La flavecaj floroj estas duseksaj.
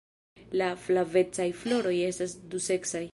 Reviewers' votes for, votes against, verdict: 1, 2, rejected